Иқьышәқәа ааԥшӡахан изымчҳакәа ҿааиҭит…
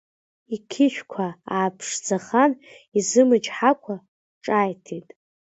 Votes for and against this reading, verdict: 2, 0, accepted